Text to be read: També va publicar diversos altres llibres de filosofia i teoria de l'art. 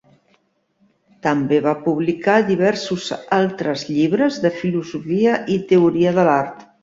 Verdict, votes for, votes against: accepted, 2, 0